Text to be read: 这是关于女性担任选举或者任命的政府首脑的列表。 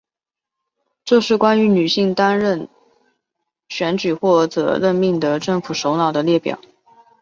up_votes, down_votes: 2, 0